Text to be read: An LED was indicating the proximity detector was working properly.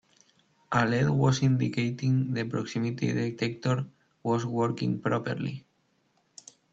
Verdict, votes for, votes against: rejected, 1, 2